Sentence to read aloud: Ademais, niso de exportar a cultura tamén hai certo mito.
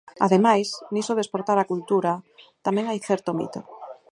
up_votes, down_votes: 4, 0